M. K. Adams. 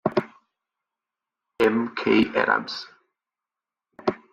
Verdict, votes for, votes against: accepted, 2, 1